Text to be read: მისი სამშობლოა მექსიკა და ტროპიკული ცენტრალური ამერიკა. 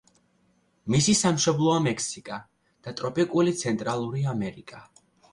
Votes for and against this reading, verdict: 2, 0, accepted